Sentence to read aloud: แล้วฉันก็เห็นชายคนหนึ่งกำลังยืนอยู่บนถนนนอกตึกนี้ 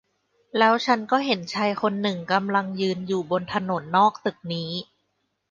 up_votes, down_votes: 2, 1